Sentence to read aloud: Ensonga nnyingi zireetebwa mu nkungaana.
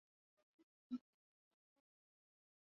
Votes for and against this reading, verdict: 0, 2, rejected